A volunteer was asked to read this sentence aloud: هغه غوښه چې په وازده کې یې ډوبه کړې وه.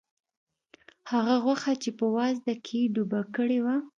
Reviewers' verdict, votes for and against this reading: accepted, 2, 0